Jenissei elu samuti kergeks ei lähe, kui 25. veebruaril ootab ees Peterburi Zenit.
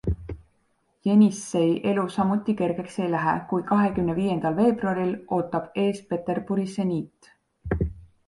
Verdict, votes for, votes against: rejected, 0, 2